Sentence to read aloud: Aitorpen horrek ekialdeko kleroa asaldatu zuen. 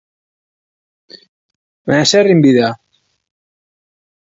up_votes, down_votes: 0, 3